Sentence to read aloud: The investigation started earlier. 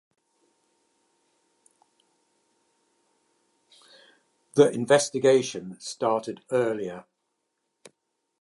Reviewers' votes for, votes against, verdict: 2, 0, accepted